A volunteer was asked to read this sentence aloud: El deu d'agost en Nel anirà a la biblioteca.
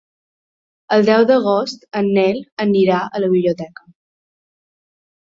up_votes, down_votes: 2, 0